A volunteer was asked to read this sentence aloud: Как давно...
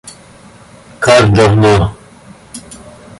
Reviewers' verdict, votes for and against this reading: rejected, 0, 2